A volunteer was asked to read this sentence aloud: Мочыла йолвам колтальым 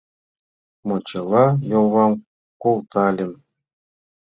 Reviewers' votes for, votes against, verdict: 0, 2, rejected